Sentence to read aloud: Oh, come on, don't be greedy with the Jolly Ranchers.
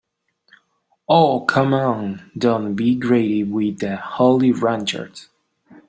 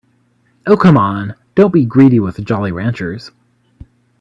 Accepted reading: second